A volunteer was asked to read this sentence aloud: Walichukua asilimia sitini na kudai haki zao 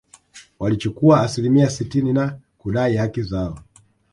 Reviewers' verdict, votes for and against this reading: rejected, 1, 2